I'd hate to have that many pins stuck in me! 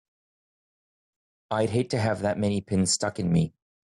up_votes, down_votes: 1, 2